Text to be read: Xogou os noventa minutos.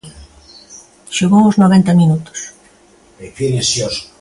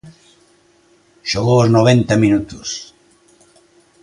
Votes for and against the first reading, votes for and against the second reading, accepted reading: 0, 2, 2, 0, second